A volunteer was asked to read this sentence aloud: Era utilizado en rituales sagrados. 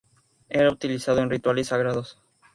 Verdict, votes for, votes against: accepted, 2, 0